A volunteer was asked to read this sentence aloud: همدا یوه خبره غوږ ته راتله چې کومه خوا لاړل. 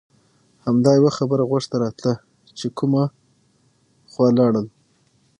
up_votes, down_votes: 3, 6